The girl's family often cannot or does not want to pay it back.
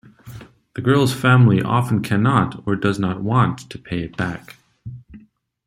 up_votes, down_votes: 2, 0